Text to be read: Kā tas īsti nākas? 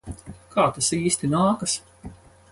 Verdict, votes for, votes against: accepted, 4, 0